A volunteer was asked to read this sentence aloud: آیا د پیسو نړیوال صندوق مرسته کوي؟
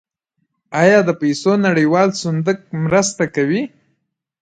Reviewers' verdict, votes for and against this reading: accepted, 2, 0